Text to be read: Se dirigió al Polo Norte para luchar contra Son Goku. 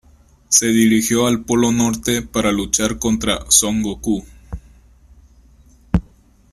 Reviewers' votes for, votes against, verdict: 2, 1, accepted